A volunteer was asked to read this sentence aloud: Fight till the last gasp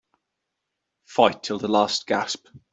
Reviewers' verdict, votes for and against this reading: accepted, 2, 0